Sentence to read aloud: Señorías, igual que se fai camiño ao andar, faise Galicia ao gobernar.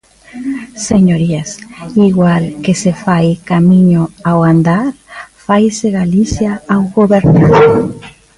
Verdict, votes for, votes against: accepted, 2, 1